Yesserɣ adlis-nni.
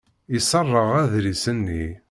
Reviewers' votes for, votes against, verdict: 1, 2, rejected